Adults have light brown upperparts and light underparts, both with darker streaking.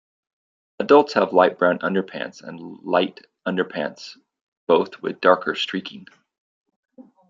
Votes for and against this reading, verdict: 1, 2, rejected